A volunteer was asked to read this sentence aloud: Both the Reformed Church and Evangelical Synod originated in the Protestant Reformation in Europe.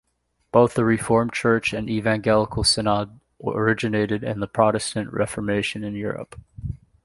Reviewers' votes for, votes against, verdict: 1, 2, rejected